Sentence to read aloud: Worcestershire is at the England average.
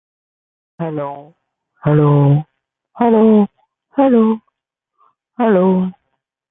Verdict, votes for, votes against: rejected, 0, 2